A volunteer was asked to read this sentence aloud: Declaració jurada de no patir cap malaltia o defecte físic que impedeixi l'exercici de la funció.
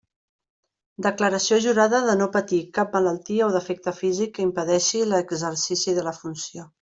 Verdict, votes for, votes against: accepted, 2, 0